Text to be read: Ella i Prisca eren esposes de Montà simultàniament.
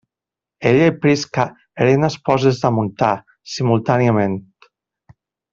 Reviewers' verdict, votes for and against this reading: rejected, 1, 2